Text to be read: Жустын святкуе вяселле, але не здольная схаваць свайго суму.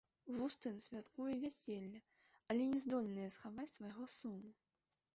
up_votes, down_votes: 0, 2